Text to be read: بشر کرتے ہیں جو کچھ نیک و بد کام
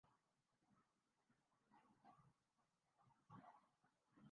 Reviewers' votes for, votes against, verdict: 0, 2, rejected